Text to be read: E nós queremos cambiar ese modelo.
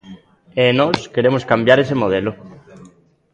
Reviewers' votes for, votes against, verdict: 2, 0, accepted